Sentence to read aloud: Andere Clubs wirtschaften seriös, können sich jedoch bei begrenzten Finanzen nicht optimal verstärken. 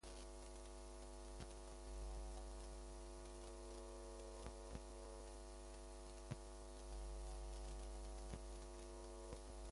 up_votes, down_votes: 0, 2